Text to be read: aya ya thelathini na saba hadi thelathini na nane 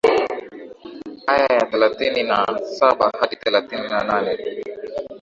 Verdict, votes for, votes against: accepted, 2, 0